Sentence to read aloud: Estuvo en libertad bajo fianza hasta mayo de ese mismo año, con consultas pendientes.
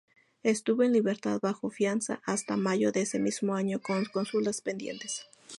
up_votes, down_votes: 2, 0